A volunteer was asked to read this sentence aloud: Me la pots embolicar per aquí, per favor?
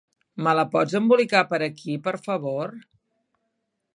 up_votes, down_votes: 3, 0